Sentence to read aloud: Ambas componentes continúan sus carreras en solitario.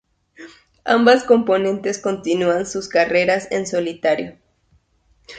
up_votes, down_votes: 2, 0